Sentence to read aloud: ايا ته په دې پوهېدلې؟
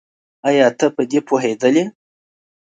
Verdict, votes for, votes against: accepted, 2, 0